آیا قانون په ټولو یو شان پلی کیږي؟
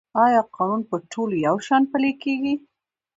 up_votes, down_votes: 2, 0